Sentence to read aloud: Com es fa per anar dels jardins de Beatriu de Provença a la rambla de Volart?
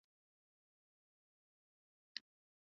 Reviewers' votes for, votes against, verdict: 0, 2, rejected